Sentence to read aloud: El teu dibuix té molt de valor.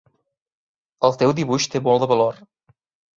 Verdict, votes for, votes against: accepted, 3, 0